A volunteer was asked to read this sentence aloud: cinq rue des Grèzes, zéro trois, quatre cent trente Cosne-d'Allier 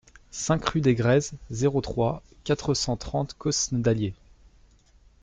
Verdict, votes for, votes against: accepted, 2, 1